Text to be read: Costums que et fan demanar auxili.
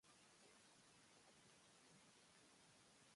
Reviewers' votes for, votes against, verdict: 1, 2, rejected